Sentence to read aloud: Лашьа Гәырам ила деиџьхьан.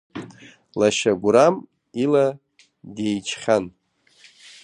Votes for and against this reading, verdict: 2, 0, accepted